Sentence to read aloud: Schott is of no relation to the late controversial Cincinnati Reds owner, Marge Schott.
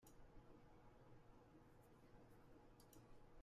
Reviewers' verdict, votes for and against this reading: rejected, 0, 2